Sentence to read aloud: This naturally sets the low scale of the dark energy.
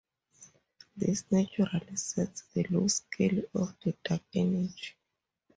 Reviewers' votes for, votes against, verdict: 2, 4, rejected